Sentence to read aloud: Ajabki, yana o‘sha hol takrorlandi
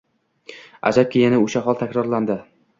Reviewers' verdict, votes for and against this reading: accepted, 2, 0